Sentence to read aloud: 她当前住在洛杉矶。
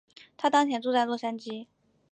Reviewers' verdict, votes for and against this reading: accepted, 4, 0